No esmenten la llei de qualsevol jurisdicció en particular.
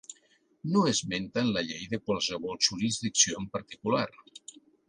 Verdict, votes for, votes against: accepted, 2, 0